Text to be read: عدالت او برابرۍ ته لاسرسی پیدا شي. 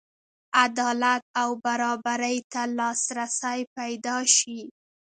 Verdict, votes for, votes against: accepted, 2, 0